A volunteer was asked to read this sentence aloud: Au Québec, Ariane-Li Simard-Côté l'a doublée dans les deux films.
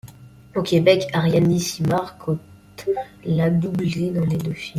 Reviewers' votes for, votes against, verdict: 0, 2, rejected